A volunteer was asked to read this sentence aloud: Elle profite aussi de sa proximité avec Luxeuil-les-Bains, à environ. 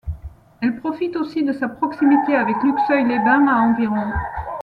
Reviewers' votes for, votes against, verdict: 1, 2, rejected